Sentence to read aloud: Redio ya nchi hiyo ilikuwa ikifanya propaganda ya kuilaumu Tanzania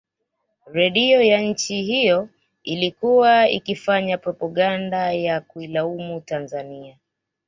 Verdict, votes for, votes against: accepted, 2, 1